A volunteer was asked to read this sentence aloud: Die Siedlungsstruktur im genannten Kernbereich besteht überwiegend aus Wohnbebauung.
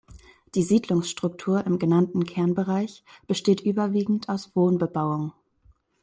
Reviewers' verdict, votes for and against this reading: accepted, 2, 0